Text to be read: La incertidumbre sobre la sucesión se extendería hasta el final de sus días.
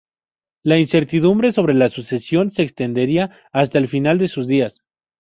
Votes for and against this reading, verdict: 2, 0, accepted